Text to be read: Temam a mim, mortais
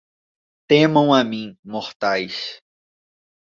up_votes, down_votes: 2, 0